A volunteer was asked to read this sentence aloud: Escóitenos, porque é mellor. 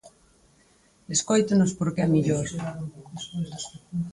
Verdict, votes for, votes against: accepted, 4, 0